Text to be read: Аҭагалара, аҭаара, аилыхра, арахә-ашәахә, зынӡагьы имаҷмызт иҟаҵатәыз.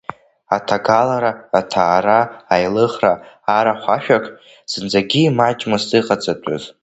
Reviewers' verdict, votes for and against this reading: rejected, 1, 2